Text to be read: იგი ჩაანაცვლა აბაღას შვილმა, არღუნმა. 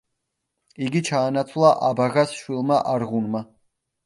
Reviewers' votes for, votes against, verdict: 2, 0, accepted